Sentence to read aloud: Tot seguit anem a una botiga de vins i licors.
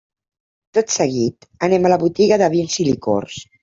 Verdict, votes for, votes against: rejected, 1, 2